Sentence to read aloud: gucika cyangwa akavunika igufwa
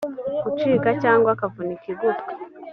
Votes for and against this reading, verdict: 2, 0, accepted